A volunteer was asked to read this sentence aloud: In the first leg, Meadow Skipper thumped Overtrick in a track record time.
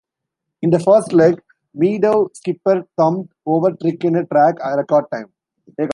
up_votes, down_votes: 0, 2